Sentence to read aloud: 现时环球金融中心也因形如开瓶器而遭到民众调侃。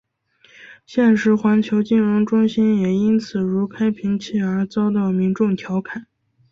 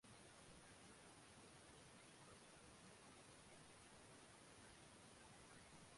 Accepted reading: first